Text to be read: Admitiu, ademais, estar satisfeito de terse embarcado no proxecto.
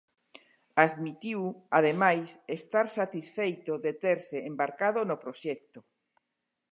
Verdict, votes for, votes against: accepted, 2, 0